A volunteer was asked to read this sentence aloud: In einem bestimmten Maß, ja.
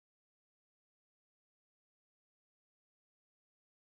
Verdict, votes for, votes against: rejected, 0, 2